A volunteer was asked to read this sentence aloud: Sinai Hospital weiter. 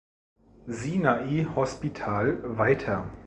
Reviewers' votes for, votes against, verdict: 2, 0, accepted